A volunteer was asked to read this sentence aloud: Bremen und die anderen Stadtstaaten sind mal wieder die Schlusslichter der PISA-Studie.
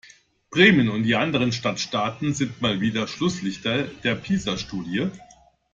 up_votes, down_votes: 1, 2